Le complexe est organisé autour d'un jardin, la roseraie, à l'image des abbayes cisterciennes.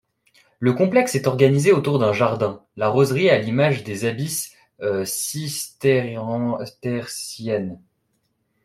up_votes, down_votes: 0, 2